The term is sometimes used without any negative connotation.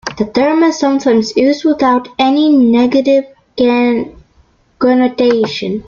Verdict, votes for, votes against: rejected, 0, 2